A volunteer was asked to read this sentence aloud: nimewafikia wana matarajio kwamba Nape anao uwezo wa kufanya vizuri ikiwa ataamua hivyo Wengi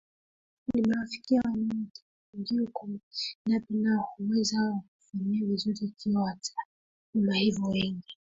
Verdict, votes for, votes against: rejected, 1, 2